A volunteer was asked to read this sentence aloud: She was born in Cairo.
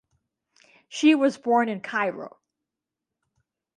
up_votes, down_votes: 2, 0